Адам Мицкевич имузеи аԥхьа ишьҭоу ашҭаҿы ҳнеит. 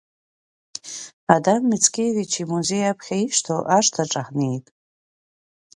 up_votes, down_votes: 2, 0